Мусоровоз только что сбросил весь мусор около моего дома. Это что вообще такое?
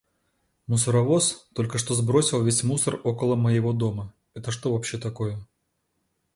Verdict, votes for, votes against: accepted, 2, 0